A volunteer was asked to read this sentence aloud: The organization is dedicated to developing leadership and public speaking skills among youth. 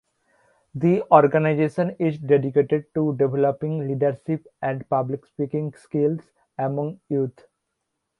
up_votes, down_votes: 2, 1